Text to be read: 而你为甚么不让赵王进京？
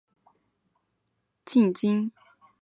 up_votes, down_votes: 0, 6